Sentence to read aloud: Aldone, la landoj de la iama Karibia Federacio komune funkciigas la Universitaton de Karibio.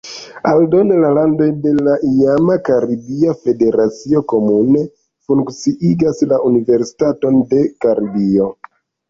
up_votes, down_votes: 1, 2